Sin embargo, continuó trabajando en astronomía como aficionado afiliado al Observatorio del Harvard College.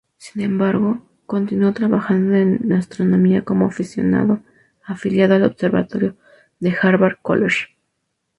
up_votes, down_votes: 0, 2